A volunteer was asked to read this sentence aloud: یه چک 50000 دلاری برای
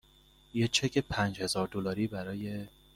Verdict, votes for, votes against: rejected, 0, 2